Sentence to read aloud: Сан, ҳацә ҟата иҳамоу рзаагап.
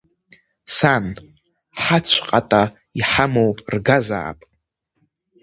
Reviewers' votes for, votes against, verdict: 0, 2, rejected